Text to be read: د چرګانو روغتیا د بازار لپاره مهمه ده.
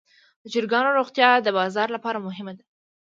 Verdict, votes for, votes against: accepted, 2, 0